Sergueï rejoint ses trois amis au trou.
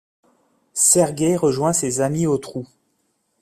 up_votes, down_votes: 1, 2